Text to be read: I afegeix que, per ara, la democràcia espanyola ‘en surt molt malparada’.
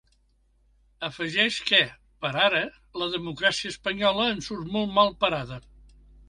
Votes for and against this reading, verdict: 1, 2, rejected